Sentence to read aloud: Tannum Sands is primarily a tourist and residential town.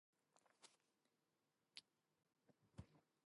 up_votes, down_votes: 0, 2